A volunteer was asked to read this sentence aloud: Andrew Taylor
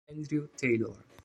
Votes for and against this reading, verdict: 2, 0, accepted